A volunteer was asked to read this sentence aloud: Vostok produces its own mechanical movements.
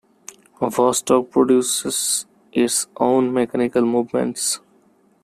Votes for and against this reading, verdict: 2, 1, accepted